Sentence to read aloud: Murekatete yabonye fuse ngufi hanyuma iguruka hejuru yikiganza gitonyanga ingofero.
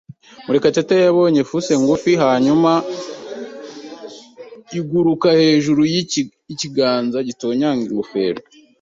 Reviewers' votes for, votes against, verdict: 0, 3, rejected